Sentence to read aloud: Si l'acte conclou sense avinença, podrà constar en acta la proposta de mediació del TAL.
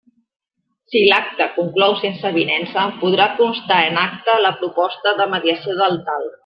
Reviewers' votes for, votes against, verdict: 2, 0, accepted